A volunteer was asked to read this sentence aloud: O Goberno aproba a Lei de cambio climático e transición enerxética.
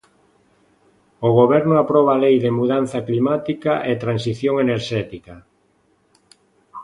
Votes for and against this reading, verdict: 0, 2, rejected